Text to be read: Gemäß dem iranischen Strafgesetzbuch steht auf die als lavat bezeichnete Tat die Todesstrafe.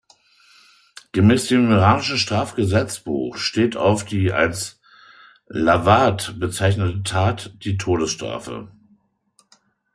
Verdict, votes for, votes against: accepted, 2, 0